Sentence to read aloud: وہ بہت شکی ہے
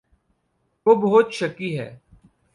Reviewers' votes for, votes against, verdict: 0, 2, rejected